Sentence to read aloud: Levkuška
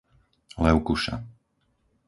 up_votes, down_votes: 0, 4